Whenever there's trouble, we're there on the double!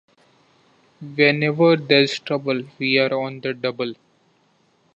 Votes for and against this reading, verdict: 0, 2, rejected